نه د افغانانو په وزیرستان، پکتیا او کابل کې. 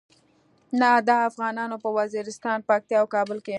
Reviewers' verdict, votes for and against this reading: accepted, 2, 0